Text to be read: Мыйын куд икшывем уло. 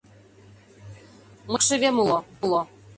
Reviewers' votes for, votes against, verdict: 0, 2, rejected